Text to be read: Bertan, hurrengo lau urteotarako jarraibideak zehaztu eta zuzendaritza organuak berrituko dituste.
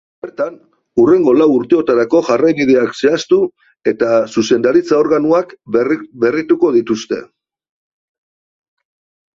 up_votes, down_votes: 0, 2